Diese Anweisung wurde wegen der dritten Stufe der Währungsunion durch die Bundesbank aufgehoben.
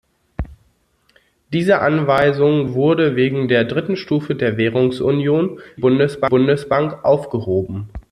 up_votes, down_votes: 0, 2